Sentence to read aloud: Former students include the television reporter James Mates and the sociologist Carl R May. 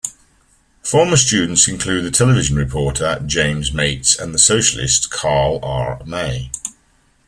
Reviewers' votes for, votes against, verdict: 0, 3, rejected